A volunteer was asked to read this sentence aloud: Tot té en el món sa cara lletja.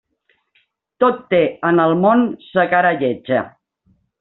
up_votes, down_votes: 2, 0